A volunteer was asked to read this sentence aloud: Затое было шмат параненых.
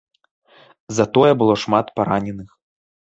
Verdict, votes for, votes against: accepted, 2, 0